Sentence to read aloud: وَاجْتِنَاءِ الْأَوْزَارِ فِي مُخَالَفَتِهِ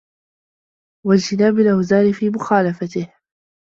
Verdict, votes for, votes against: accepted, 2, 1